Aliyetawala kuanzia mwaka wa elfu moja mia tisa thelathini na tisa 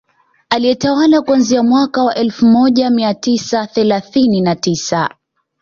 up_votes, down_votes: 2, 0